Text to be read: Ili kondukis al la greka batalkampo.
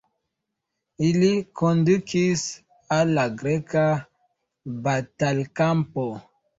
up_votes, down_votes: 2, 0